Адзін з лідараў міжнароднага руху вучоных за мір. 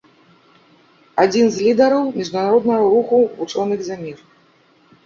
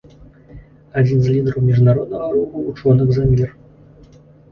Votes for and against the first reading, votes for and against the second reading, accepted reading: 1, 2, 2, 1, second